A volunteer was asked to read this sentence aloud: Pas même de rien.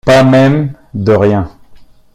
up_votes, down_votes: 0, 2